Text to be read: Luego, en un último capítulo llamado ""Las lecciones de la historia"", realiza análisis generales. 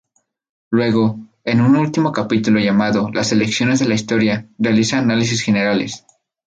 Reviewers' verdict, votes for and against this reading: rejected, 0, 2